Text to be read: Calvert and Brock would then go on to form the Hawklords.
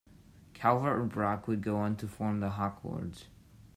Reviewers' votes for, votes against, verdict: 0, 2, rejected